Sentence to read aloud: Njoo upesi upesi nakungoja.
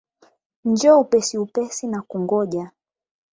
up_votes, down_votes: 16, 8